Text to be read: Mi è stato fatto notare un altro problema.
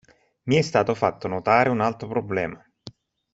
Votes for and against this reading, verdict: 2, 1, accepted